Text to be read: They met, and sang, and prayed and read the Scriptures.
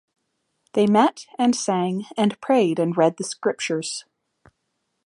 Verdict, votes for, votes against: accepted, 2, 0